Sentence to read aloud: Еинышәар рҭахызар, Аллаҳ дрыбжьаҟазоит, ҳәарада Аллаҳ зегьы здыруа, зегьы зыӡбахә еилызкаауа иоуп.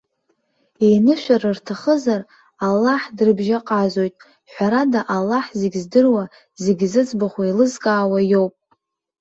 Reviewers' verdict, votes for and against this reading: rejected, 1, 2